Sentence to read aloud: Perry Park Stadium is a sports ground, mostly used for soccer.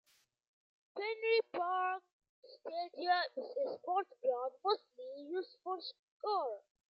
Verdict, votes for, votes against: rejected, 0, 2